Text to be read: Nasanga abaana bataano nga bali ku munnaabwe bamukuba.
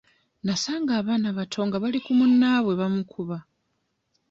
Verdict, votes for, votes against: rejected, 1, 2